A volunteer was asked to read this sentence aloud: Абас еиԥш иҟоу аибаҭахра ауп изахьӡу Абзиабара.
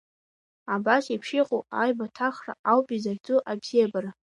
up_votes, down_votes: 2, 1